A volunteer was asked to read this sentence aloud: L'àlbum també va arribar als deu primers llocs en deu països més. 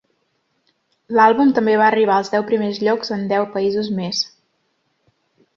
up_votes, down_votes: 2, 0